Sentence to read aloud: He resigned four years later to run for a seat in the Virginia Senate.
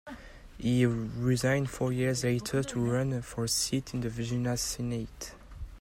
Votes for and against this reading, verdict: 2, 3, rejected